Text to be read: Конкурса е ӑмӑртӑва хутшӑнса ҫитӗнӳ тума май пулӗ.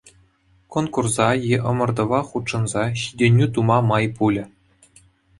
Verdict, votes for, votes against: accepted, 2, 0